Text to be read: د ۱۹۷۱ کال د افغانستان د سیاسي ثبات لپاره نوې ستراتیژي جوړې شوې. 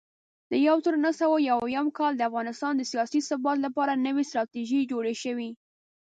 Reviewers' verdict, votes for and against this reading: rejected, 0, 2